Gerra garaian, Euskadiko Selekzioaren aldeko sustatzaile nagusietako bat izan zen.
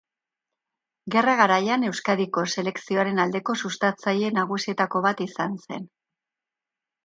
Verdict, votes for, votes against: accepted, 2, 0